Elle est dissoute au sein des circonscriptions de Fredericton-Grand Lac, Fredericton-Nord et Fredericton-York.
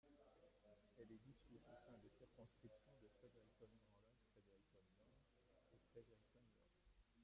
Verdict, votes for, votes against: rejected, 0, 2